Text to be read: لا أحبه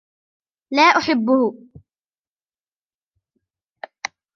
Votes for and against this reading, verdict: 2, 0, accepted